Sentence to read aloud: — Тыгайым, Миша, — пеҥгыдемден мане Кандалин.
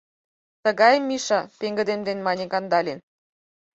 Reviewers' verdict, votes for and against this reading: accepted, 4, 0